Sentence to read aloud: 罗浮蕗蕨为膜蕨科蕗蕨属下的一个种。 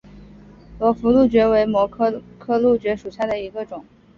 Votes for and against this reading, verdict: 4, 2, accepted